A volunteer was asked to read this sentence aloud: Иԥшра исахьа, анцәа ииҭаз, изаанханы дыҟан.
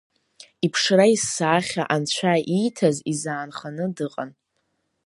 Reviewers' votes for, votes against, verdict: 2, 0, accepted